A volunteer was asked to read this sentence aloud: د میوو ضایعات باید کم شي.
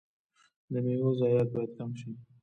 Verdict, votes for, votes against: accepted, 2, 0